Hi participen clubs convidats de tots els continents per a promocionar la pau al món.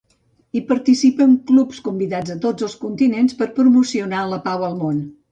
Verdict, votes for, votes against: rejected, 1, 2